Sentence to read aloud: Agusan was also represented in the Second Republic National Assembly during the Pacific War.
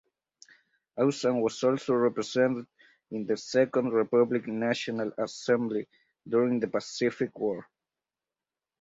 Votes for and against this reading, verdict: 2, 4, rejected